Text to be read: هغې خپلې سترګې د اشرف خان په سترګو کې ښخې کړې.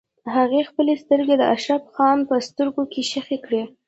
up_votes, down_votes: 2, 0